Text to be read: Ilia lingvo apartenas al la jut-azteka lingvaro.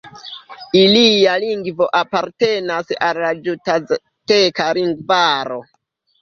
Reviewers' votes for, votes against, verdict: 0, 2, rejected